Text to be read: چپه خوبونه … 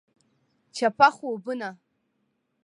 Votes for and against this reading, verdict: 2, 0, accepted